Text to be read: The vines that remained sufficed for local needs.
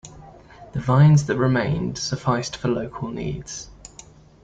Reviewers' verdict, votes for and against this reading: accepted, 2, 0